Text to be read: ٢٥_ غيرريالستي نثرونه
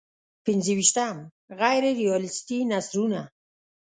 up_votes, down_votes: 0, 2